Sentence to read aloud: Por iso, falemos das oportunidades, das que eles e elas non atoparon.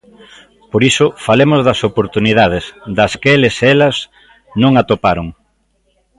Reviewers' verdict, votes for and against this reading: accepted, 2, 0